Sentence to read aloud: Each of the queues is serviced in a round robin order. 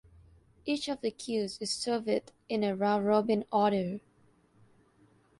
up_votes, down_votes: 0, 2